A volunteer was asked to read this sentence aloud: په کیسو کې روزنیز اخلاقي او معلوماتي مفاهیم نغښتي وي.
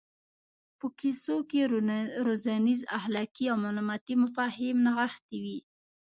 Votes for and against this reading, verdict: 2, 1, accepted